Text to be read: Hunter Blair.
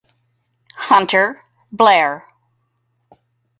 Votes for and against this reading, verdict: 2, 2, rejected